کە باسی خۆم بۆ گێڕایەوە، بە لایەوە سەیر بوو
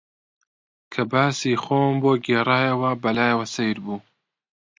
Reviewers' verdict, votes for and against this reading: accepted, 2, 0